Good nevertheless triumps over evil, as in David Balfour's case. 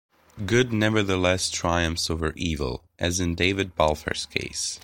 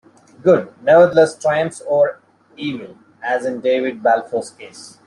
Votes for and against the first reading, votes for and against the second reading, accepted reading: 2, 0, 1, 2, first